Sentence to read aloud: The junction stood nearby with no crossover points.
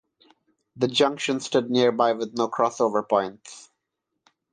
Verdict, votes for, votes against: accepted, 6, 0